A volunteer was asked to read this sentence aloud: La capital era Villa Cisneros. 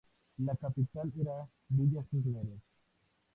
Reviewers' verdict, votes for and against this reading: rejected, 0, 2